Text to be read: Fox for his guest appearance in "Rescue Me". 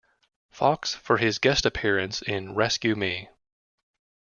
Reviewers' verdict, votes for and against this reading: accepted, 2, 0